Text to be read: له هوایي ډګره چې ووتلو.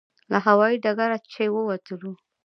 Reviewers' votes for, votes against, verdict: 2, 0, accepted